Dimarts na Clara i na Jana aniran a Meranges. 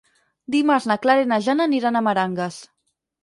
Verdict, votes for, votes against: rejected, 4, 6